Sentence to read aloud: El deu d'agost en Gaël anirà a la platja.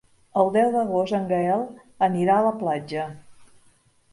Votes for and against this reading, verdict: 5, 0, accepted